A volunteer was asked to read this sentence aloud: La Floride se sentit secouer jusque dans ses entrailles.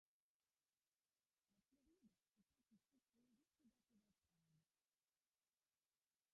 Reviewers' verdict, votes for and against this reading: rejected, 0, 2